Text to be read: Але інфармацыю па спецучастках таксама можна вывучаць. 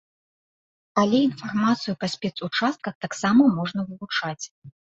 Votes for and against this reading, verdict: 2, 0, accepted